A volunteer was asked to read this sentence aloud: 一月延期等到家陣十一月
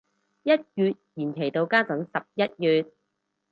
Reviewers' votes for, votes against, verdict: 2, 2, rejected